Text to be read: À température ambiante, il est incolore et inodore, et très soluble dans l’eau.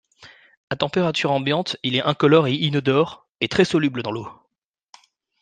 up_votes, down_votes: 0, 2